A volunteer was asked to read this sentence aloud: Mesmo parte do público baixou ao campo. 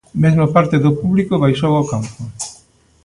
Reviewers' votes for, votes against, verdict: 2, 0, accepted